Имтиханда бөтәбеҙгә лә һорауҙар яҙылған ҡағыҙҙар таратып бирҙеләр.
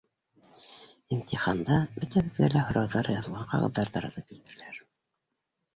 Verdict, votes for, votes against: accepted, 2, 1